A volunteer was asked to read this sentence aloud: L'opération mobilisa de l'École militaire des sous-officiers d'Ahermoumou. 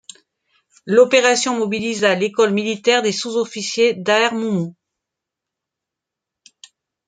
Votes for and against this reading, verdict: 1, 2, rejected